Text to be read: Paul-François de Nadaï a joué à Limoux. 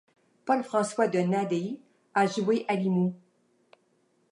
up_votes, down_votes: 1, 2